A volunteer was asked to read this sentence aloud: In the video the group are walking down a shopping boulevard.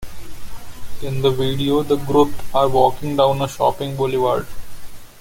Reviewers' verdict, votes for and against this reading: accepted, 2, 1